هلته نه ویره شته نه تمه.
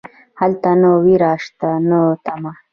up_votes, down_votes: 1, 2